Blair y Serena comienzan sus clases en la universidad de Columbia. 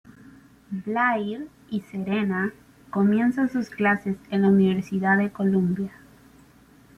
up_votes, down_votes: 2, 1